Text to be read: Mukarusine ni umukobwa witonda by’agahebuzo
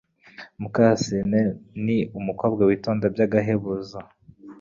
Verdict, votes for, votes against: accepted, 2, 0